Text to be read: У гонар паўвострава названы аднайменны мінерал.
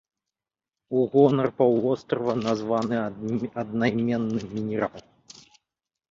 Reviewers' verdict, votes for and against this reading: rejected, 0, 2